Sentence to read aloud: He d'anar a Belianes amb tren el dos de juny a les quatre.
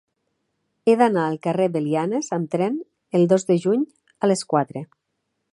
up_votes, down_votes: 1, 2